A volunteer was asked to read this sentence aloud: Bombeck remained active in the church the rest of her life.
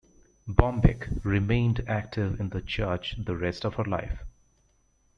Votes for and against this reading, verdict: 2, 0, accepted